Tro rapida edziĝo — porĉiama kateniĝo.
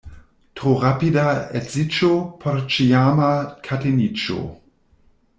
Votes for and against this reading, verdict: 1, 2, rejected